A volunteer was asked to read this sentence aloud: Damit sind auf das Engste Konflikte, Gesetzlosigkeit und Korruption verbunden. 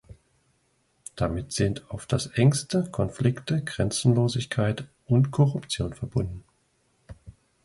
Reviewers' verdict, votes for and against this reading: rejected, 0, 2